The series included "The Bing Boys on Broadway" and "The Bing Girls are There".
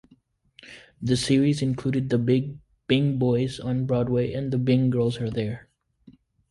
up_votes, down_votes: 1, 2